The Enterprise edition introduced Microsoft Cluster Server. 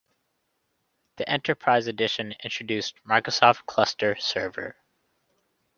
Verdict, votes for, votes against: accepted, 2, 1